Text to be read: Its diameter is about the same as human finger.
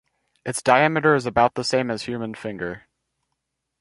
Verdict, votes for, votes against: rejected, 2, 2